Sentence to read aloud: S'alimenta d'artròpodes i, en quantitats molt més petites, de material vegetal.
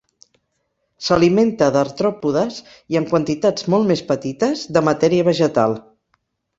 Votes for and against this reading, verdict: 2, 4, rejected